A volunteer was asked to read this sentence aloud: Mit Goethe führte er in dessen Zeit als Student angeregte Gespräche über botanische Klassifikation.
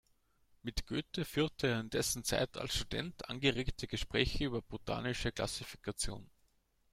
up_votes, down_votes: 1, 2